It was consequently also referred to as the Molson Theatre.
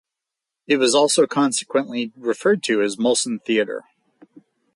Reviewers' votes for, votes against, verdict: 0, 4, rejected